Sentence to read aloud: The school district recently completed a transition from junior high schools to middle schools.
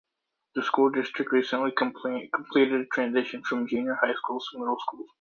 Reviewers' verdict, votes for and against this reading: rejected, 0, 2